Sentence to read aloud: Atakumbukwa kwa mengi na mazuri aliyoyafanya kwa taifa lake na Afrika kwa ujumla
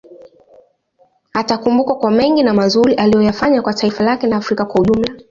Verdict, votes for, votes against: accepted, 2, 1